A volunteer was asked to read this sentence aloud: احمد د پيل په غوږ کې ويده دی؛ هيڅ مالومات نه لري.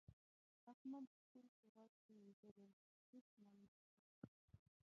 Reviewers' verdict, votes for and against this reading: rejected, 0, 2